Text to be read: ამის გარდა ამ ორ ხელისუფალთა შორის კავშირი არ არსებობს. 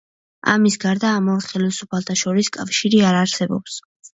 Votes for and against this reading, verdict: 2, 0, accepted